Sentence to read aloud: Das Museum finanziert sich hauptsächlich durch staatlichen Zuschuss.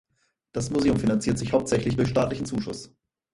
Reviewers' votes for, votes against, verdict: 4, 2, accepted